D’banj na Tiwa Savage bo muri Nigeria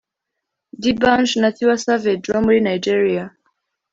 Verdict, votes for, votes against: accepted, 2, 0